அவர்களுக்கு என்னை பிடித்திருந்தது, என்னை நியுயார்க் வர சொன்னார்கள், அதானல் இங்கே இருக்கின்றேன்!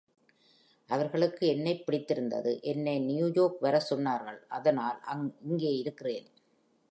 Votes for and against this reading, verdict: 1, 2, rejected